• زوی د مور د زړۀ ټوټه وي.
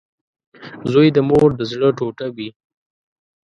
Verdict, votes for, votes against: accepted, 2, 0